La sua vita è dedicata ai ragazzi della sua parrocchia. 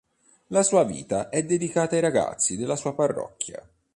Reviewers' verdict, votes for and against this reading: accepted, 3, 0